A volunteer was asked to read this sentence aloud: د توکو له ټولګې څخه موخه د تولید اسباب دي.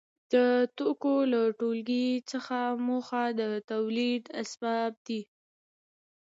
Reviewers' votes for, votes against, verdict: 2, 0, accepted